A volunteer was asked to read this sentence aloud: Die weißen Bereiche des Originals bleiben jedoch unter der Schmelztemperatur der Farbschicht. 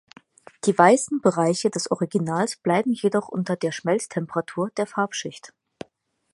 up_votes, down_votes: 6, 0